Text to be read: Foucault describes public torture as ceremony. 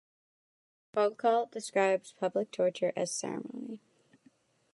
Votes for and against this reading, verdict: 0, 2, rejected